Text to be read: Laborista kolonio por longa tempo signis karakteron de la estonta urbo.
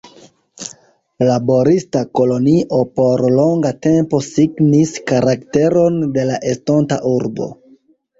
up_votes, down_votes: 2, 0